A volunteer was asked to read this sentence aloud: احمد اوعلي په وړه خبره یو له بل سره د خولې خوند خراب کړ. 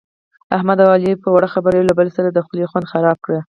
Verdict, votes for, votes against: rejected, 0, 2